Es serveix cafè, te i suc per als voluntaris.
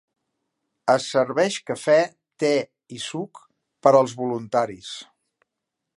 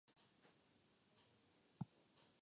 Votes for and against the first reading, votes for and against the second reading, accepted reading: 3, 0, 0, 2, first